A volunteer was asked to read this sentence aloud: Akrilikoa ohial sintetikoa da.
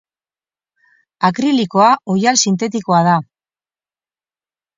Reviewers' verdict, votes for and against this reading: accepted, 4, 0